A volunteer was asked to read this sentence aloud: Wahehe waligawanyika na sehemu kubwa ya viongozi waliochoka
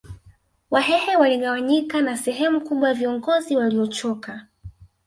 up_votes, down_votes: 0, 2